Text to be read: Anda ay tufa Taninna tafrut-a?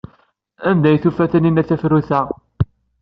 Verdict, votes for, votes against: accepted, 2, 0